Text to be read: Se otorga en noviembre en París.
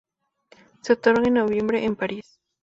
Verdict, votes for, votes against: accepted, 2, 0